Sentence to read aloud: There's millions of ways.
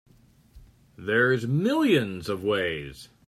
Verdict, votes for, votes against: accepted, 3, 0